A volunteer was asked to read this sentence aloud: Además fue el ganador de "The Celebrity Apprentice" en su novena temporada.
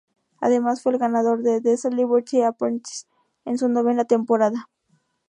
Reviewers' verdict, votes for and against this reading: rejected, 0, 2